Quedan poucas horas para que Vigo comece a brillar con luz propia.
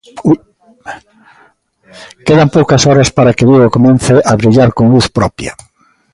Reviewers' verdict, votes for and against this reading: rejected, 1, 2